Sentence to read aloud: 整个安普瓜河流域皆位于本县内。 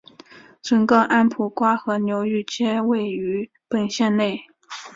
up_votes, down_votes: 3, 0